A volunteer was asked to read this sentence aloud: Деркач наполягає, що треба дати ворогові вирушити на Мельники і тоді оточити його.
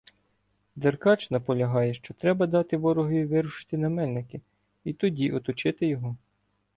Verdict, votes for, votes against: rejected, 1, 2